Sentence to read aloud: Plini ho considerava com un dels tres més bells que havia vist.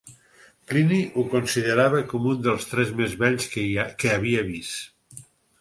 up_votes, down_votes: 2, 4